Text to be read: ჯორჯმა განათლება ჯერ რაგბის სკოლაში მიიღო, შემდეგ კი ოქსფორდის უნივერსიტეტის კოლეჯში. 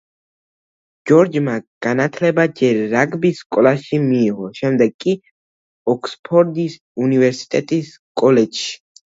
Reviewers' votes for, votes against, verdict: 2, 0, accepted